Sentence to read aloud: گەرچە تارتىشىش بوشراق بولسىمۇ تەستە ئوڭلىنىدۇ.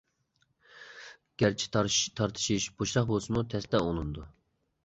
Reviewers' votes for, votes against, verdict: 0, 2, rejected